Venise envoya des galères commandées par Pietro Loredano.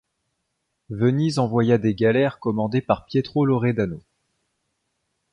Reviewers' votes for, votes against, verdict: 2, 0, accepted